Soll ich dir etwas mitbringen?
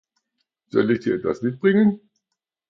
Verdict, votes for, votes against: accepted, 2, 0